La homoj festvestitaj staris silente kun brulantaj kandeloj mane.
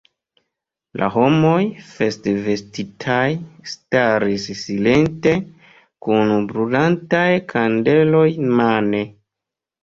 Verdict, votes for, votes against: rejected, 1, 2